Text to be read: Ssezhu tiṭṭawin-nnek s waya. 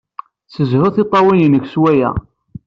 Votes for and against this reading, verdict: 2, 0, accepted